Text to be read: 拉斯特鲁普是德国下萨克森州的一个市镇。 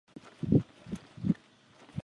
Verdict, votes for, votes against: rejected, 1, 4